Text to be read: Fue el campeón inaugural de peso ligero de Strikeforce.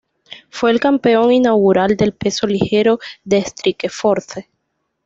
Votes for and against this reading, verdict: 2, 0, accepted